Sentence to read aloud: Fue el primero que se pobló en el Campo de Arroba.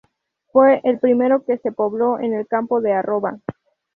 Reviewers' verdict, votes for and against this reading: rejected, 0, 2